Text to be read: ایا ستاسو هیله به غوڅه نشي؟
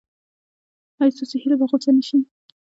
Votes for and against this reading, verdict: 2, 0, accepted